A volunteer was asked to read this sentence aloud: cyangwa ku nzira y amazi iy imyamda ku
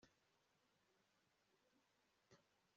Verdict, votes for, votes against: rejected, 0, 2